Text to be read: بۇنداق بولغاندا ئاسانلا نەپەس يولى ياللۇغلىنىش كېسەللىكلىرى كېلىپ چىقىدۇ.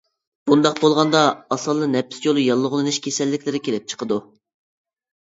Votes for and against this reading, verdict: 0, 2, rejected